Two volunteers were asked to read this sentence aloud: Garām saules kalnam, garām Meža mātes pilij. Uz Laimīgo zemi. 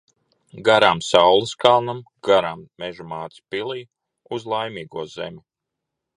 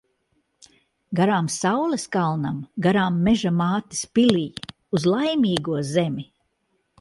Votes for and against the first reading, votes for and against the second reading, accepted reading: 2, 0, 1, 2, first